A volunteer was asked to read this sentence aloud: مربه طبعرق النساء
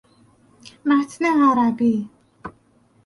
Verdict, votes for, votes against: rejected, 0, 4